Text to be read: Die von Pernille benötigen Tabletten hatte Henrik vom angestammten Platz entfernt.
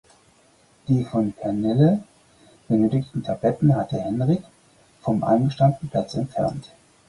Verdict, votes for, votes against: rejected, 2, 4